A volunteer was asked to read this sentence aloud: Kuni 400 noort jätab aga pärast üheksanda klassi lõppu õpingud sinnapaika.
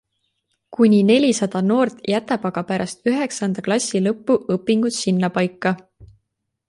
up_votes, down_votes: 0, 2